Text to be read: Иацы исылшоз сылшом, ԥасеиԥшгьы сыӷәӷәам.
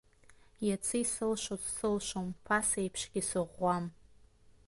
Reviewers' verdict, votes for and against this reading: accepted, 2, 0